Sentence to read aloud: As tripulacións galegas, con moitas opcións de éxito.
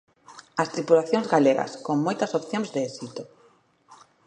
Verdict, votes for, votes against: accepted, 2, 0